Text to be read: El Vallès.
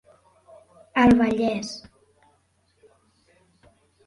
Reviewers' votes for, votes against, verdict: 2, 0, accepted